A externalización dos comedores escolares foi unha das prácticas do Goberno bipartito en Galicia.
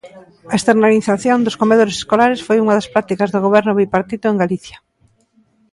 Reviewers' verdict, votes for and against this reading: accepted, 2, 0